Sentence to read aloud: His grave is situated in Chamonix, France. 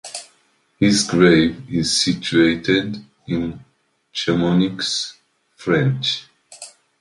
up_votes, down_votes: 0, 2